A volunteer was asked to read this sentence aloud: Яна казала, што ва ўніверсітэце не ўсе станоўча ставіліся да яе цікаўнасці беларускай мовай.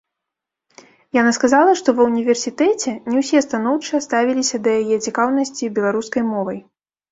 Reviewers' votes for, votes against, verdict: 0, 2, rejected